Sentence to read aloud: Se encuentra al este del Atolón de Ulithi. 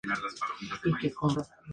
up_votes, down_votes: 0, 2